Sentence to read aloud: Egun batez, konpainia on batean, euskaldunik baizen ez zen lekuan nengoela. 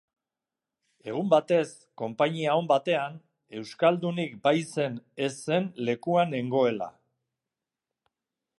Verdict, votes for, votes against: accepted, 2, 0